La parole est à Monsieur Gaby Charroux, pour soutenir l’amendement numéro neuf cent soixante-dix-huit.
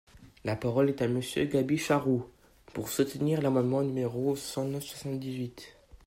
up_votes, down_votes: 0, 2